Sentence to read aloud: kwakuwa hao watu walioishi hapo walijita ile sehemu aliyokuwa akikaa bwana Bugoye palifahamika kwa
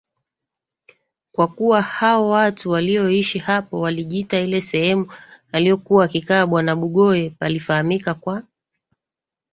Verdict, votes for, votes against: rejected, 2, 3